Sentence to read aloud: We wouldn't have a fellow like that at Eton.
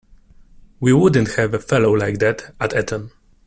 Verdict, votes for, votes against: rejected, 0, 2